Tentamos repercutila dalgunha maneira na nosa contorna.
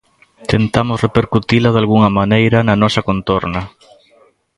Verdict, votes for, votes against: accepted, 2, 0